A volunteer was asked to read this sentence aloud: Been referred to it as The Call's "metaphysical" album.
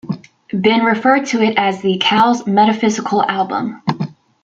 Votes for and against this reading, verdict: 2, 0, accepted